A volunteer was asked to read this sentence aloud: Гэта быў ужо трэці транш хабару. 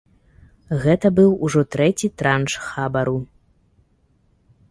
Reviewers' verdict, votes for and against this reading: accepted, 2, 0